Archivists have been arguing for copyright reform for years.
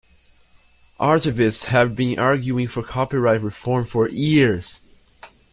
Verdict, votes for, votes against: rejected, 0, 2